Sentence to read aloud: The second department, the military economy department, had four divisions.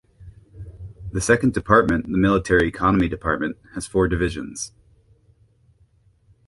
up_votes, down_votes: 1, 3